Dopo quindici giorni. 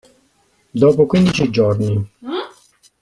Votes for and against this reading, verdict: 1, 2, rejected